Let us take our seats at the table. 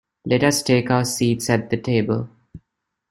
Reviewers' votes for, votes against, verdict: 2, 1, accepted